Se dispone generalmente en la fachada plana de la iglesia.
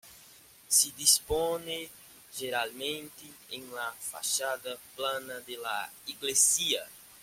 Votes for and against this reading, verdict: 0, 2, rejected